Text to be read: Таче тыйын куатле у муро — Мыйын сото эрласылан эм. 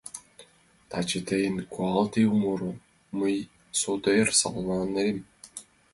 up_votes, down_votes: 0, 2